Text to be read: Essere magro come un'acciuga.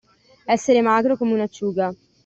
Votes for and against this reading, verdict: 2, 0, accepted